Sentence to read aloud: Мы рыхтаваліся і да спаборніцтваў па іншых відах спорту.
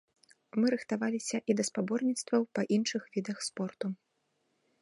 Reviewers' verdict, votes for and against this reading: accepted, 2, 0